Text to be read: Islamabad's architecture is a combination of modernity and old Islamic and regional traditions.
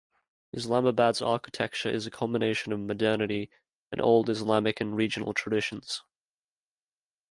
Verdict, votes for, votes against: accepted, 2, 0